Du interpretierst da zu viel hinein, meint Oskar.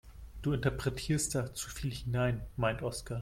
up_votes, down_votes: 2, 0